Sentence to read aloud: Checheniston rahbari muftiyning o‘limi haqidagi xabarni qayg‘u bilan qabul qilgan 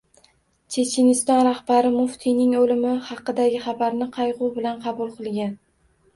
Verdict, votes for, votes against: rejected, 1, 2